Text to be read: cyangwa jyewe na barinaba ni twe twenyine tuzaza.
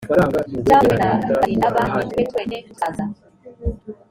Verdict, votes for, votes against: rejected, 1, 2